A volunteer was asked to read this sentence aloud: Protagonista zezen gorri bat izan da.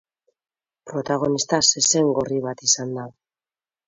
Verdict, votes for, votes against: accepted, 2, 0